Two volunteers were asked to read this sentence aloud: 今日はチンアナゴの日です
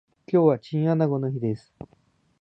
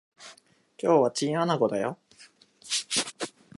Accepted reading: first